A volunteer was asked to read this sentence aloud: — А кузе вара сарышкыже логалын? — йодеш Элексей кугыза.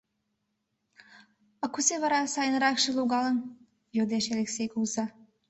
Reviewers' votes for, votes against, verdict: 1, 2, rejected